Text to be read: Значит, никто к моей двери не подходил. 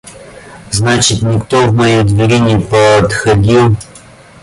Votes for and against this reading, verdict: 0, 2, rejected